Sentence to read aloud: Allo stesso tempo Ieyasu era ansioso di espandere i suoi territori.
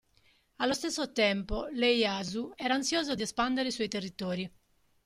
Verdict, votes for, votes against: accepted, 2, 0